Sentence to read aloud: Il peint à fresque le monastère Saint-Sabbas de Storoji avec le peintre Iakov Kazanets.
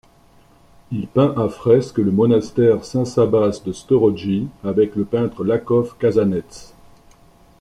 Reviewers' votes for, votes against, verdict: 0, 2, rejected